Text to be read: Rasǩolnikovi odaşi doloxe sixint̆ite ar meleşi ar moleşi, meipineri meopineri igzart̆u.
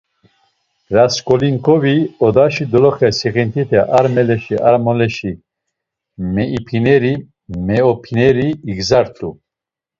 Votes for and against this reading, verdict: 0, 2, rejected